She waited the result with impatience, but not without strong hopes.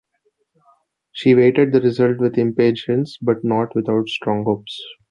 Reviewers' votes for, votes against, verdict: 2, 1, accepted